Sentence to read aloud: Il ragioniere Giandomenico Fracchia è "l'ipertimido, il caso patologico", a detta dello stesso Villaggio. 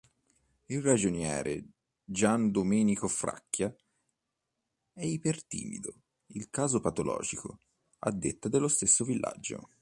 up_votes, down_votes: 1, 2